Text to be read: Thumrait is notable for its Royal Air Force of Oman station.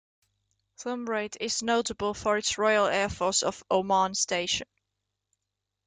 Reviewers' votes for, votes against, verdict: 2, 0, accepted